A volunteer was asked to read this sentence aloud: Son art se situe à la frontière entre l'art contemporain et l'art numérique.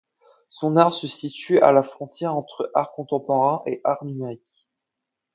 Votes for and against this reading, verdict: 0, 2, rejected